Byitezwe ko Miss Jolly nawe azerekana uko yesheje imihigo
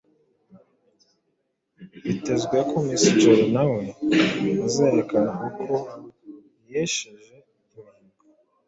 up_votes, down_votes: 2, 0